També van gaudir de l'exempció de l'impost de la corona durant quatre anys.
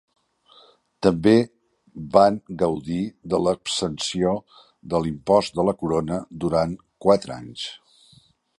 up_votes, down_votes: 2, 0